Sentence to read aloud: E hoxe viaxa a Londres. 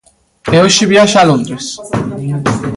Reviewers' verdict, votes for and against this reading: rejected, 1, 2